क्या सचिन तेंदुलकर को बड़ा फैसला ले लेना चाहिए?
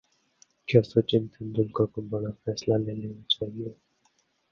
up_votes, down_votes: 0, 2